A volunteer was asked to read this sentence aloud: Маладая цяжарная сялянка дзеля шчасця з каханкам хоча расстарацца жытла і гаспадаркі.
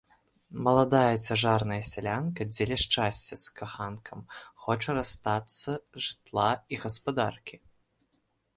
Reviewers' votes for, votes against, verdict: 1, 2, rejected